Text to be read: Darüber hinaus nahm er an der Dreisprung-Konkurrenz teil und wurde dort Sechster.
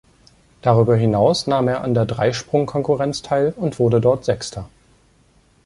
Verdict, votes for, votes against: accepted, 2, 0